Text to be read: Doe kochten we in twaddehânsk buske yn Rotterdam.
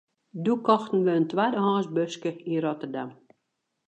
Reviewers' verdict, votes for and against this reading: accepted, 2, 0